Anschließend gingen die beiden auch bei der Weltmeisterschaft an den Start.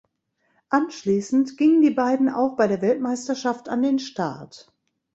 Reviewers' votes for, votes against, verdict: 2, 0, accepted